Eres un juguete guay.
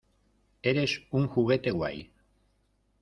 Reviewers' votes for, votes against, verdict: 2, 0, accepted